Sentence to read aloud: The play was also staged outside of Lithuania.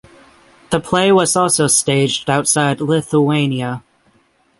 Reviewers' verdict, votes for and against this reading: accepted, 6, 3